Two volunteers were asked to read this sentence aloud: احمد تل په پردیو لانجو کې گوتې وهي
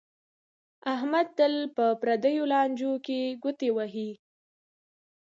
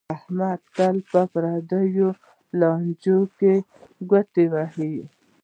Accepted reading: first